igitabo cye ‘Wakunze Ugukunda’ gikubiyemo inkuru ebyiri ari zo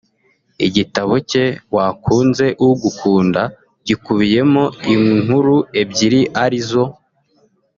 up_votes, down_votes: 1, 2